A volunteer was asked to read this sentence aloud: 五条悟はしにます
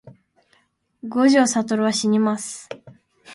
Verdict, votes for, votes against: accepted, 2, 0